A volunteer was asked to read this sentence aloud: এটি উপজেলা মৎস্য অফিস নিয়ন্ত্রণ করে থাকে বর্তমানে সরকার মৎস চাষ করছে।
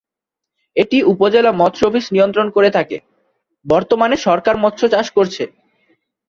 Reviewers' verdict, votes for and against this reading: accepted, 8, 1